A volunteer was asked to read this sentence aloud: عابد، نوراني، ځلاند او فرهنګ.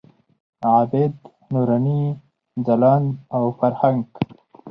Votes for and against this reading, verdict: 4, 0, accepted